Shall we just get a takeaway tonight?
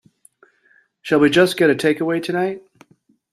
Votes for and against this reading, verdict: 2, 0, accepted